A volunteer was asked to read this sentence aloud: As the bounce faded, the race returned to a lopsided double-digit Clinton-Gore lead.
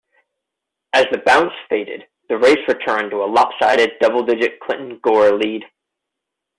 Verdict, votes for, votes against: accepted, 2, 0